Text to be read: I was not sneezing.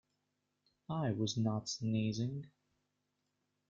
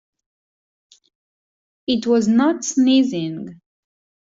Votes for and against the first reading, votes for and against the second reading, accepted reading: 2, 0, 0, 2, first